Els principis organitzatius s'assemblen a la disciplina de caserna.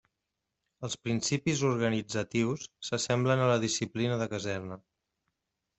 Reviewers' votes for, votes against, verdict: 2, 0, accepted